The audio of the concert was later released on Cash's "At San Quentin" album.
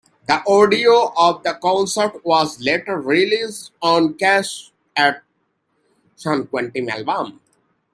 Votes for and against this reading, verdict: 1, 2, rejected